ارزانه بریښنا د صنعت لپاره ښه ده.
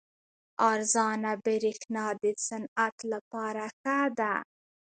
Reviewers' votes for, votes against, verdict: 1, 2, rejected